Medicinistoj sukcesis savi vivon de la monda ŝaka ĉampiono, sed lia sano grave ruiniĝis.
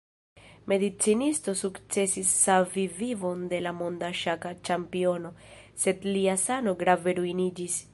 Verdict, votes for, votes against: rejected, 0, 2